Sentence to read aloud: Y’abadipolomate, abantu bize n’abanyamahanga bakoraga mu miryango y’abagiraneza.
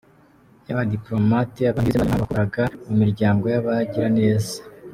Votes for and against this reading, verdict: 0, 2, rejected